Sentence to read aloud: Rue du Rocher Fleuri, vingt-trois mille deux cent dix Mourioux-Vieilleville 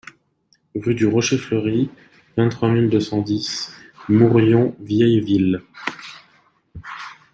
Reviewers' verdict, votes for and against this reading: rejected, 0, 2